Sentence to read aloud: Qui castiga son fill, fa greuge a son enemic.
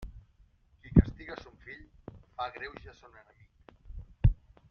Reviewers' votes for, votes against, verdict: 0, 2, rejected